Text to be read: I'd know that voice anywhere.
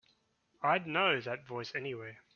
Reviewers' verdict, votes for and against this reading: accepted, 2, 0